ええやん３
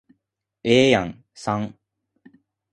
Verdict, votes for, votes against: rejected, 0, 2